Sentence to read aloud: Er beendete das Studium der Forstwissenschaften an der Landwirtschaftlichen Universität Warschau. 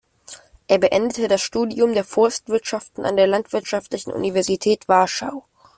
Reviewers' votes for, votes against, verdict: 2, 0, accepted